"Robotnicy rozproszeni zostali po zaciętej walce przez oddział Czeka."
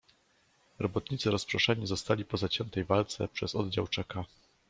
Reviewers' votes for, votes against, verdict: 2, 0, accepted